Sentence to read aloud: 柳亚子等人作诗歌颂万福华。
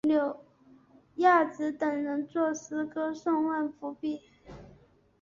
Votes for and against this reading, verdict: 2, 1, accepted